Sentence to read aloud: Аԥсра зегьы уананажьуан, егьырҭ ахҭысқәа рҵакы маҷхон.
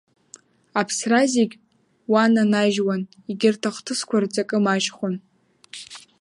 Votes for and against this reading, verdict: 1, 2, rejected